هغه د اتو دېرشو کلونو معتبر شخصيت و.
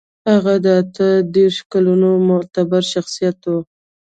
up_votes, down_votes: 2, 0